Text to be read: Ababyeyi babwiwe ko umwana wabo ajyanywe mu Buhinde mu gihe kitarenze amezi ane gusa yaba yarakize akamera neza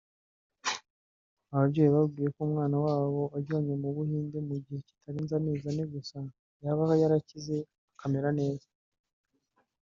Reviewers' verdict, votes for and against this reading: rejected, 1, 2